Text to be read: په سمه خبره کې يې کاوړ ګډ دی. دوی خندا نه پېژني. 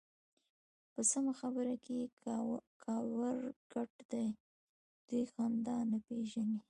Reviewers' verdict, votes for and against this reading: rejected, 1, 2